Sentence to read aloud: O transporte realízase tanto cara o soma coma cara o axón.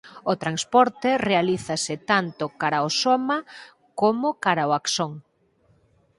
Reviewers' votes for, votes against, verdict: 2, 4, rejected